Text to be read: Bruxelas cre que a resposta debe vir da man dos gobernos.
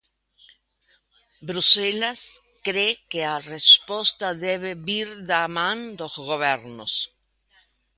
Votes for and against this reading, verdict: 2, 0, accepted